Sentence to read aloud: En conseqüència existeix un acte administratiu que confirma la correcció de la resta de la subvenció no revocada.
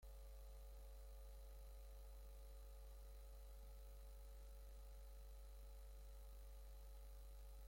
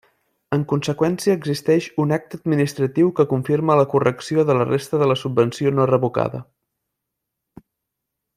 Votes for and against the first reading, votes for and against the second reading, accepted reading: 0, 3, 2, 0, second